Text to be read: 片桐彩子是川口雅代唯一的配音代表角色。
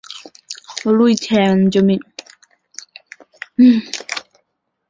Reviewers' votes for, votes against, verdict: 0, 4, rejected